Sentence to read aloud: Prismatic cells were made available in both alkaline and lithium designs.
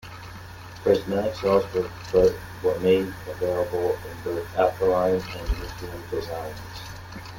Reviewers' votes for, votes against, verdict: 0, 2, rejected